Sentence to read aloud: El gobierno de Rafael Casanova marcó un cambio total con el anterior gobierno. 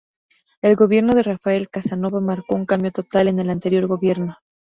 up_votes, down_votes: 2, 2